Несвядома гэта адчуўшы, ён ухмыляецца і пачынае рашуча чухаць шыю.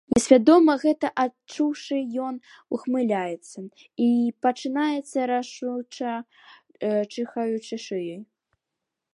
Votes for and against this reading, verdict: 0, 2, rejected